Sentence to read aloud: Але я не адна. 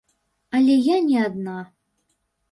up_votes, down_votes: 2, 0